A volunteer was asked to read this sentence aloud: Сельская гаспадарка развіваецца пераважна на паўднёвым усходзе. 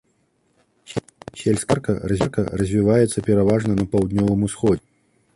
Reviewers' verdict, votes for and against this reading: rejected, 0, 2